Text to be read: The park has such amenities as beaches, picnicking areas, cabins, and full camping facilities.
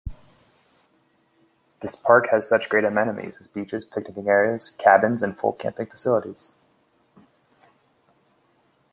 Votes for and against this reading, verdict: 1, 2, rejected